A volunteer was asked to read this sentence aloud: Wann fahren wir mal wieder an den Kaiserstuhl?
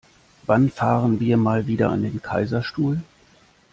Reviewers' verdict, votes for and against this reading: accepted, 2, 0